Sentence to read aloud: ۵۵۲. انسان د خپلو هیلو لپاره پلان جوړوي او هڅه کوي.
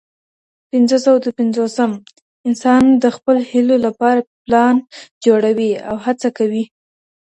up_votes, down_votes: 0, 2